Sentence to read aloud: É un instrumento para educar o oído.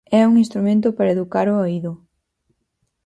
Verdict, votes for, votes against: accepted, 4, 0